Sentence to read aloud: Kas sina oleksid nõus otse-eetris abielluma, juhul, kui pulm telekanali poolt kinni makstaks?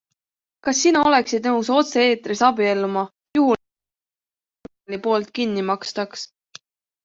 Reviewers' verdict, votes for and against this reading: rejected, 0, 2